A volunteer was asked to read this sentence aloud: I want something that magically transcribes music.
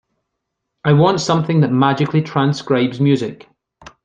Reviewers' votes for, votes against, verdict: 2, 0, accepted